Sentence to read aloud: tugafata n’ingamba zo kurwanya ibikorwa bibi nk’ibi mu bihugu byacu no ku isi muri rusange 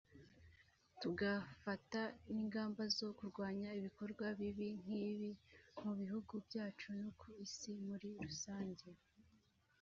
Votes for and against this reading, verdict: 2, 0, accepted